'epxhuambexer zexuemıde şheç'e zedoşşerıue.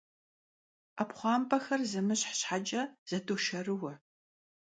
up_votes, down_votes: 1, 2